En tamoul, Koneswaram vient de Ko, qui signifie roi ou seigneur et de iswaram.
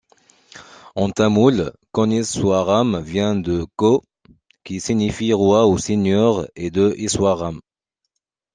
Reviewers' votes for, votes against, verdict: 2, 0, accepted